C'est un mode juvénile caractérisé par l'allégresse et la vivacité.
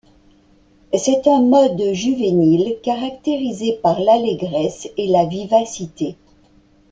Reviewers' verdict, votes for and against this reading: accepted, 2, 0